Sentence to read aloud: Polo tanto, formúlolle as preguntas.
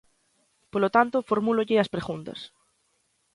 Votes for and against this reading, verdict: 2, 0, accepted